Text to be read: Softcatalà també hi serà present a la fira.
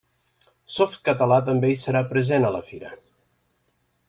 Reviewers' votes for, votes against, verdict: 3, 0, accepted